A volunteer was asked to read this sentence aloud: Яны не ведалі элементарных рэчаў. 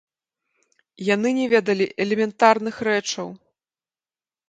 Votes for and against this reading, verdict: 2, 0, accepted